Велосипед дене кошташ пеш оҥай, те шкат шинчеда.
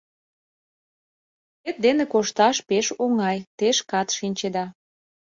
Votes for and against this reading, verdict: 0, 2, rejected